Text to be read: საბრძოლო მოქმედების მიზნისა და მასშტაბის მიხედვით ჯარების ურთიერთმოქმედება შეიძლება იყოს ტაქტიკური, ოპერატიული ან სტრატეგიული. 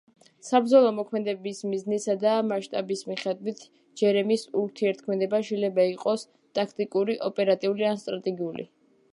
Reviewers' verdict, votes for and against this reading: rejected, 0, 2